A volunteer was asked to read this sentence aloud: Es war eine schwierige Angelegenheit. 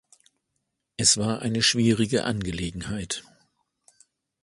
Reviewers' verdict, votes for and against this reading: accepted, 2, 0